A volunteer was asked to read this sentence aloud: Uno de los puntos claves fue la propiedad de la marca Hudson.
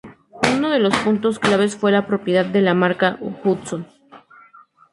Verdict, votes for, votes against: rejected, 2, 2